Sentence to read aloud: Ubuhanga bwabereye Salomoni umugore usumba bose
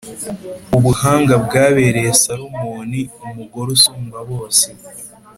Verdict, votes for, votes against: accepted, 3, 0